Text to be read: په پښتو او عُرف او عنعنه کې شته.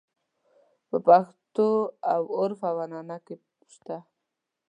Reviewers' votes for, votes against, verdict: 2, 0, accepted